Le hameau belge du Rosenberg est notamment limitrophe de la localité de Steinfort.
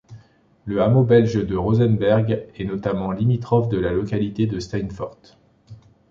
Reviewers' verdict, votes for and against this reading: rejected, 1, 2